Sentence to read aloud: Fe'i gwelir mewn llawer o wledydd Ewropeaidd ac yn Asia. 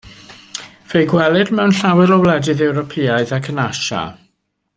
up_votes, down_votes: 2, 0